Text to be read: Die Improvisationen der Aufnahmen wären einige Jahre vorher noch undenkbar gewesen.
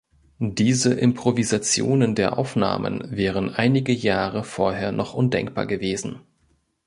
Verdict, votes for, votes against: rejected, 0, 2